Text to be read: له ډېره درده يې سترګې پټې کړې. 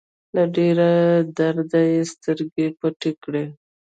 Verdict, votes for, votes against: rejected, 1, 2